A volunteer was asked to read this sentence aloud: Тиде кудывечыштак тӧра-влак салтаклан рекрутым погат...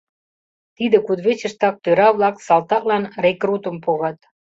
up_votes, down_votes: 2, 0